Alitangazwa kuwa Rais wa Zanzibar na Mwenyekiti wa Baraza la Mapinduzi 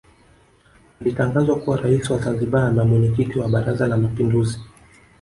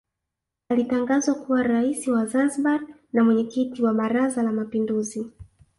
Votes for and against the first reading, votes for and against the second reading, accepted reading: 1, 2, 2, 1, second